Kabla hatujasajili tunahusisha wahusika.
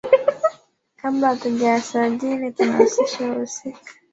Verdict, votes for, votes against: rejected, 1, 2